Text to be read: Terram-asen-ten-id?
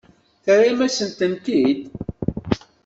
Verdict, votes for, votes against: accepted, 2, 1